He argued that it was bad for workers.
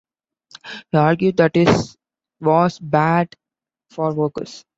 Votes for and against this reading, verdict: 0, 2, rejected